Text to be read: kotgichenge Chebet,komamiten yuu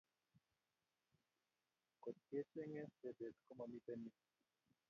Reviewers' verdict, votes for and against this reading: rejected, 0, 3